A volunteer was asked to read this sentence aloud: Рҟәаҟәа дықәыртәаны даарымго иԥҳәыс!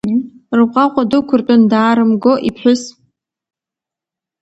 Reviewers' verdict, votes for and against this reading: accepted, 2, 0